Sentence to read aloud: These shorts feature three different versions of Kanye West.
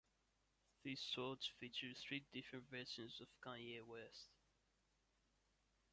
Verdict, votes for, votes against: accepted, 2, 1